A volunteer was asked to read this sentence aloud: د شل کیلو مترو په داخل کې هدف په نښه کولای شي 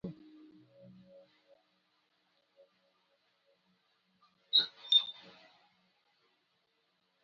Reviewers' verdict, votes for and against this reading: rejected, 1, 2